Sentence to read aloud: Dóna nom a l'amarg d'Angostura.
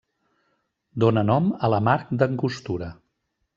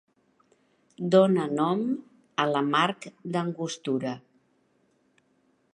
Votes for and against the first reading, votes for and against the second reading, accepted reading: 1, 2, 2, 0, second